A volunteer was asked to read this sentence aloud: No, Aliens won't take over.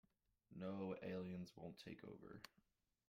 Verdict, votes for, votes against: rejected, 1, 2